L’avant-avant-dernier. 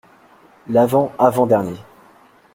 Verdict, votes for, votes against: accepted, 2, 0